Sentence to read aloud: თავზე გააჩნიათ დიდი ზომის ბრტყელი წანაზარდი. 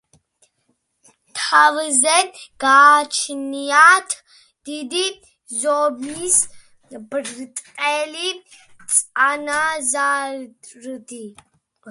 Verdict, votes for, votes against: accepted, 2, 1